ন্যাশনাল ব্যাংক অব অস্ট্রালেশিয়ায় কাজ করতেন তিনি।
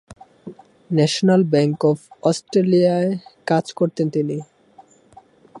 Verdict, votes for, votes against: rejected, 1, 2